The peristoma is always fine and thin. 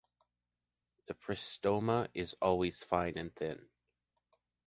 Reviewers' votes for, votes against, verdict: 2, 0, accepted